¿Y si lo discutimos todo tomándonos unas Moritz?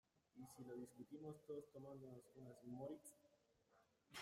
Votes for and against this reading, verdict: 0, 2, rejected